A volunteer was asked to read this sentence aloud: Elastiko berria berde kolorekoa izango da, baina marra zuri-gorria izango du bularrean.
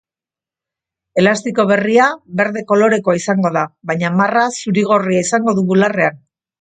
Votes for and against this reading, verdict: 4, 0, accepted